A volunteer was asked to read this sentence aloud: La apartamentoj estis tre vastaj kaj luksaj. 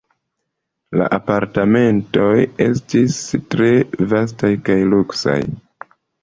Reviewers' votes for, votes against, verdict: 2, 1, accepted